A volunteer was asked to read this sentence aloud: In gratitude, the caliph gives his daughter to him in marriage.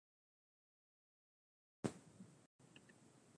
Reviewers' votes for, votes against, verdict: 0, 2, rejected